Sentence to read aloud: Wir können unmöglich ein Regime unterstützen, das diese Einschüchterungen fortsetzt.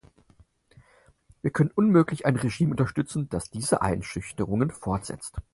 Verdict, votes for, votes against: accepted, 4, 0